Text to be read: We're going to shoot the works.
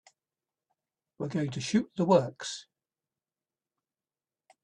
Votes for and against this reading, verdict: 2, 0, accepted